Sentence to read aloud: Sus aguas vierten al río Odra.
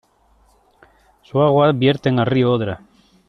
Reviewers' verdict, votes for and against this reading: rejected, 1, 2